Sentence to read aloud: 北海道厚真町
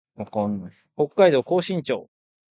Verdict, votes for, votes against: accepted, 2, 0